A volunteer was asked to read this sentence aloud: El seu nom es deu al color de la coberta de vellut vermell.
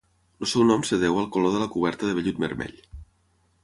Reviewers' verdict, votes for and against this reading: rejected, 0, 6